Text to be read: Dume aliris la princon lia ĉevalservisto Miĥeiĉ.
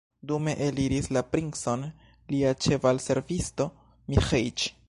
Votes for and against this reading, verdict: 1, 2, rejected